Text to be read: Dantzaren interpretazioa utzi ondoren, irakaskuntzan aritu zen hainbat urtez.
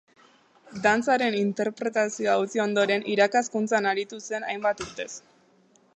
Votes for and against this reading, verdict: 5, 6, rejected